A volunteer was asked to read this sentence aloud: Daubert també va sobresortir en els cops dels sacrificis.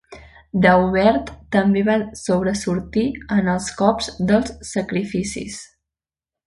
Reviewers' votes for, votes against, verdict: 2, 1, accepted